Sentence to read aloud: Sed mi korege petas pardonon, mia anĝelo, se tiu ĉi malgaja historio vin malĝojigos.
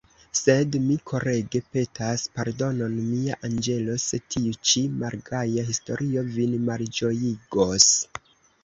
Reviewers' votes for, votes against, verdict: 0, 2, rejected